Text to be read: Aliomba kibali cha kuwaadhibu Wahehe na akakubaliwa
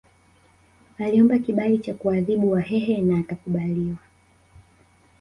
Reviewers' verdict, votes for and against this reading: accepted, 3, 0